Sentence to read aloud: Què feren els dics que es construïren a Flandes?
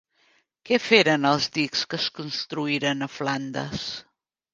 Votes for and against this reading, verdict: 2, 0, accepted